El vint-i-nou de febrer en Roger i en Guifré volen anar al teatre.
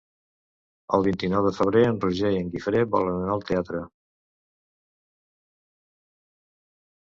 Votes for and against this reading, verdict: 2, 0, accepted